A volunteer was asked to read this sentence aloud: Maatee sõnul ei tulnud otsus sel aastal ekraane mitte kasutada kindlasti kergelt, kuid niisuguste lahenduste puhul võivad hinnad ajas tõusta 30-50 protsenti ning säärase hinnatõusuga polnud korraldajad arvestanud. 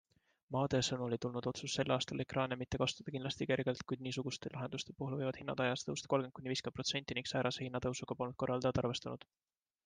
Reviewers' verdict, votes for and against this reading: rejected, 0, 2